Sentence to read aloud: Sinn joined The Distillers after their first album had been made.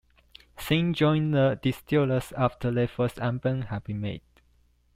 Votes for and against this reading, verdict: 1, 2, rejected